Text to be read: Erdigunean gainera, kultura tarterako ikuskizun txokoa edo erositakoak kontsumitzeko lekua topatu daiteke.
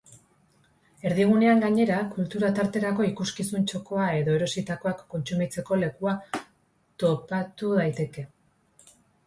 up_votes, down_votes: 2, 1